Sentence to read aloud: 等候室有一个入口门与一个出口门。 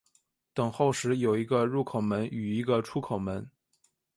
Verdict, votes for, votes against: accepted, 2, 0